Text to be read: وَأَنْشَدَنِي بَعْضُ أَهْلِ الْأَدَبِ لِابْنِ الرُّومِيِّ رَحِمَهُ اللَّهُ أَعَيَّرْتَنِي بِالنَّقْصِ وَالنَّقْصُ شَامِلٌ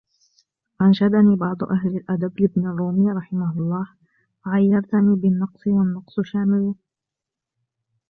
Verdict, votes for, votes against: accepted, 2, 0